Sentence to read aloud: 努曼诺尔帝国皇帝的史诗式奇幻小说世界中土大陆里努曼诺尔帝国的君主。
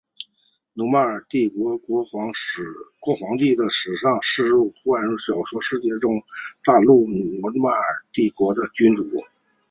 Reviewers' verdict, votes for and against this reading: accepted, 5, 0